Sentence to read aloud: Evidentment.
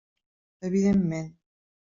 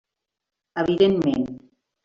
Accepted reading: first